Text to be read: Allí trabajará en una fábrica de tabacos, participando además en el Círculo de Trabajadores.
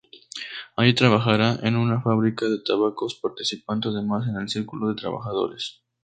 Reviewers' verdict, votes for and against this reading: rejected, 0, 2